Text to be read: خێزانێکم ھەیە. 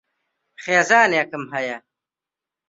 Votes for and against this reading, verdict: 2, 0, accepted